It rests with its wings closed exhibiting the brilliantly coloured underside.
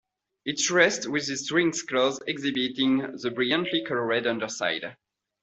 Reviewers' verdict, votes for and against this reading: accepted, 2, 0